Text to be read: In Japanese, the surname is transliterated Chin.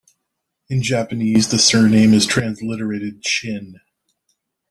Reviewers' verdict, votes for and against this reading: accepted, 2, 0